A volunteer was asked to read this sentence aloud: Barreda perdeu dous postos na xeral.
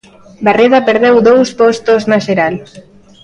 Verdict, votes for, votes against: accepted, 2, 0